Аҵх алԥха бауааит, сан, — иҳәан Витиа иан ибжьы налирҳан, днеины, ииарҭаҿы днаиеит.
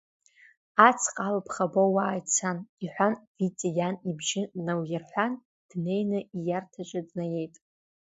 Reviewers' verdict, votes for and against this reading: accepted, 2, 0